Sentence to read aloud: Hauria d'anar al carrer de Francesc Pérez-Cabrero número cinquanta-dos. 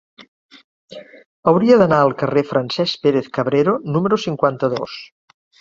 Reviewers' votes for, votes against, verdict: 1, 2, rejected